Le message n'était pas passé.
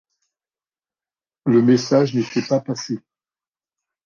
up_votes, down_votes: 2, 0